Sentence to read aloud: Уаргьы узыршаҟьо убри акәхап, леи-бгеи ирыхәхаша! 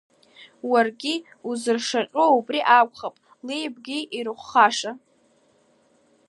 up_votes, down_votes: 2, 0